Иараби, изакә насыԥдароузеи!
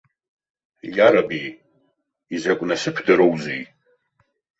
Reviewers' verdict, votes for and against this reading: accepted, 2, 0